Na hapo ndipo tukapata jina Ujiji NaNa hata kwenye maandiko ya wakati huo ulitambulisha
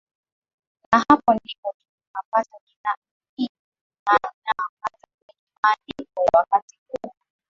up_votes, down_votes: 0, 4